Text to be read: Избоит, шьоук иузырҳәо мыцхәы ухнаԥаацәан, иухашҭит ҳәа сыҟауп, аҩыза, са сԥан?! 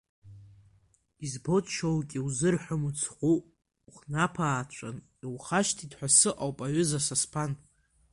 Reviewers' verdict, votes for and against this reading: rejected, 0, 2